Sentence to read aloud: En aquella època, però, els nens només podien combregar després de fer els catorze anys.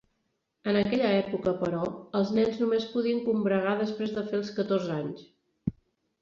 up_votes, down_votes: 2, 0